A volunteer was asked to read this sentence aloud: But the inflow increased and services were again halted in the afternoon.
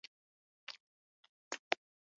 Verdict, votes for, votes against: rejected, 0, 2